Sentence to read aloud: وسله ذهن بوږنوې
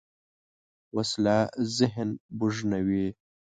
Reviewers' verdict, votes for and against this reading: accepted, 2, 0